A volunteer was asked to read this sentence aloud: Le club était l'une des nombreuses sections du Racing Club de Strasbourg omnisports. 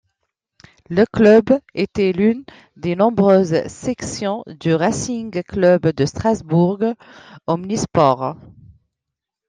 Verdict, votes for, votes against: accepted, 2, 0